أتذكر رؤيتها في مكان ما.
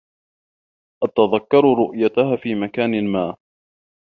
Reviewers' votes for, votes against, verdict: 1, 2, rejected